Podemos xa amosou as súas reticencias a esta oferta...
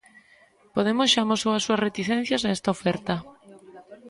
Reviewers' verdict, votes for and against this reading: rejected, 1, 2